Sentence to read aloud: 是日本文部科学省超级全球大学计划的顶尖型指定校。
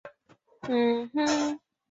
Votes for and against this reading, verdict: 0, 3, rejected